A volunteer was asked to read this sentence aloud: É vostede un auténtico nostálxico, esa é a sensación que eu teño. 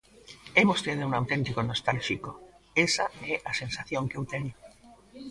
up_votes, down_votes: 2, 0